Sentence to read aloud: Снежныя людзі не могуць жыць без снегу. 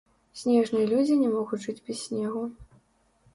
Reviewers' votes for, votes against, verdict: 1, 2, rejected